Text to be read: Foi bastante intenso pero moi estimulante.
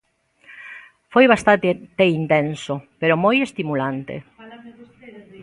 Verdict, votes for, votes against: rejected, 0, 3